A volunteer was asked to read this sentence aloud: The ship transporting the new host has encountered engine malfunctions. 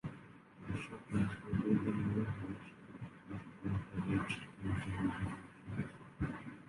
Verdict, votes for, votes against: rejected, 0, 2